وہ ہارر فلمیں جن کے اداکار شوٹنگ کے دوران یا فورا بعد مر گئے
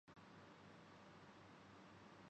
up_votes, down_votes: 0, 2